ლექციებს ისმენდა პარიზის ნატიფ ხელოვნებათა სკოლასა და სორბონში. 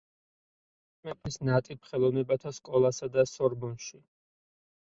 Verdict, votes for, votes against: rejected, 0, 6